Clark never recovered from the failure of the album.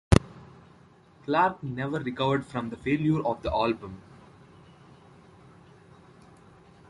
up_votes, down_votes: 2, 1